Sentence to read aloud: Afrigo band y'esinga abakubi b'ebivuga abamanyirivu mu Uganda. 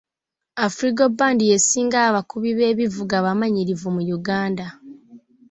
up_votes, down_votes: 2, 0